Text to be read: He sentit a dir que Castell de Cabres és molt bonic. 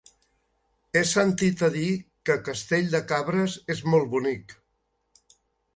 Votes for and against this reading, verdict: 3, 0, accepted